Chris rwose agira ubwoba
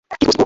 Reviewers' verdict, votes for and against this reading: rejected, 0, 2